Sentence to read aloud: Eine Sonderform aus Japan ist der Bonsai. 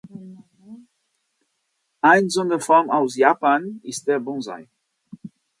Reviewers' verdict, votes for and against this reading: rejected, 1, 2